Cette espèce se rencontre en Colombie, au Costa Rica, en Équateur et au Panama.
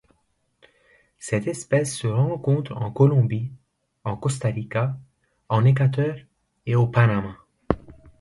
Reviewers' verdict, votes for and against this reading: rejected, 0, 2